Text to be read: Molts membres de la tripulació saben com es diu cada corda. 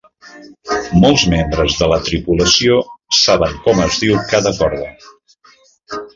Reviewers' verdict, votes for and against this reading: accepted, 3, 0